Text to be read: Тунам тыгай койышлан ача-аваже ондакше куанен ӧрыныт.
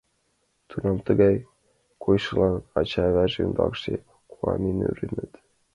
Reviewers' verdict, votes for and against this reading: accepted, 2, 0